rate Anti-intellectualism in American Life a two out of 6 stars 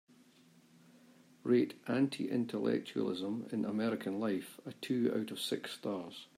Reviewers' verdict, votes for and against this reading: rejected, 0, 2